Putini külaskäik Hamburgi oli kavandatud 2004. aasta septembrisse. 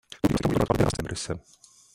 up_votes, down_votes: 0, 2